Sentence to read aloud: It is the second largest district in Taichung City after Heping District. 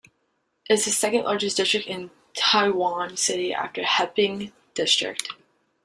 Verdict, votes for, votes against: rejected, 1, 2